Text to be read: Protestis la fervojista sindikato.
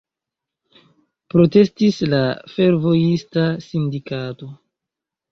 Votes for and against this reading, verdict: 2, 0, accepted